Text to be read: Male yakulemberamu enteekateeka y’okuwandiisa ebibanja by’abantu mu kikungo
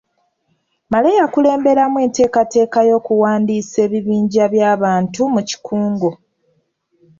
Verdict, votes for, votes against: rejected, 1, 2